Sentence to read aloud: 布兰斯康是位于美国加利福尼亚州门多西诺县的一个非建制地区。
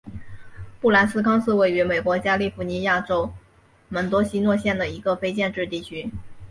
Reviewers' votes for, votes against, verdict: 3, 0, accepted